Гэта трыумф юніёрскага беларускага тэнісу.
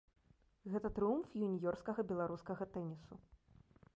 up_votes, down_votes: 2, 0